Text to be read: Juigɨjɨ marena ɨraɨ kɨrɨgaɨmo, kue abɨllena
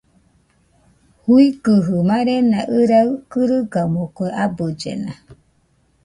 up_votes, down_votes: 0, 2